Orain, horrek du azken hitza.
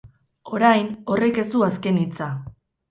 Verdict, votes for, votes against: rejected, 0, 2